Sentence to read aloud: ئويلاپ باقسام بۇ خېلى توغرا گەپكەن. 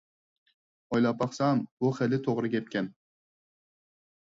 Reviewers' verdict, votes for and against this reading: accepted, 4, 0